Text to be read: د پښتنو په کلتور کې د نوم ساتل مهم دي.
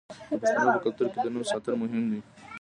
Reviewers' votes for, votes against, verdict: 2, 0, accepted